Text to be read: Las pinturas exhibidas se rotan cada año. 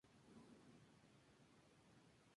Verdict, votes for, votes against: rejected, 2, 4